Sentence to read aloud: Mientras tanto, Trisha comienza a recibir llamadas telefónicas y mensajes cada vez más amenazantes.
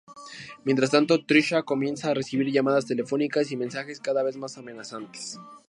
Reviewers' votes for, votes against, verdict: 4, 0, accepted